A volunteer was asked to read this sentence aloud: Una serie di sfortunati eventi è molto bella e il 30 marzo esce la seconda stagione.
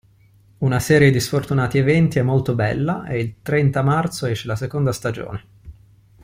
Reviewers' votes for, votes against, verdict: 0, 2, rejected